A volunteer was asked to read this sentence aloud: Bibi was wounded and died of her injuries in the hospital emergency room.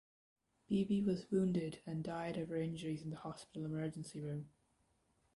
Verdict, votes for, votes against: rejected, 1, 2